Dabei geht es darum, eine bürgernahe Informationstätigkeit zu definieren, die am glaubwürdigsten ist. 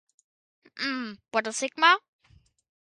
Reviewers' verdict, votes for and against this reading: rejected, 0, 2